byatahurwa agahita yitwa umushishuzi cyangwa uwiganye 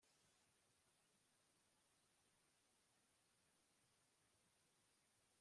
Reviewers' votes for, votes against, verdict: 1, 2, rejected